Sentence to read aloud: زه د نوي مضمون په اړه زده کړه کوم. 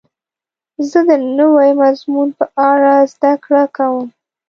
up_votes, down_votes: 1, 2